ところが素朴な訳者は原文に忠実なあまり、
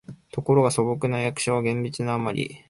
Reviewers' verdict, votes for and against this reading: rejected, 2, 3